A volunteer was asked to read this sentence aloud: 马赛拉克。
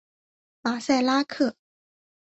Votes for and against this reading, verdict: 2, 0, accepted